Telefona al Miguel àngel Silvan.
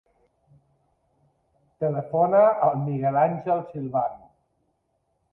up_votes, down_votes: 2, 0